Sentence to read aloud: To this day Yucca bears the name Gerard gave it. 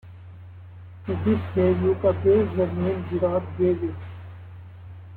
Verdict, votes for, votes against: accepted, 2, 0